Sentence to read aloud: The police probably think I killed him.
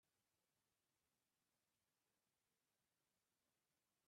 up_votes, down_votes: 0, 3